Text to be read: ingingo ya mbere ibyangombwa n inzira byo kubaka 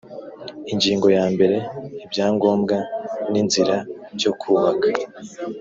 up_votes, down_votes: 4, 0